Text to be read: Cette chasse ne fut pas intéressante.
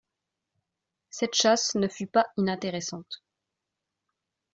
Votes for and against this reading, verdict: 1, 2, rejected